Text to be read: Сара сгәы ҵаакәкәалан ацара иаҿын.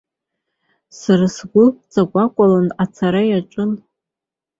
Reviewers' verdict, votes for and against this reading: rejected, 1, 3